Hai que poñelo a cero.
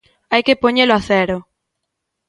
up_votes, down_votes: 2, 0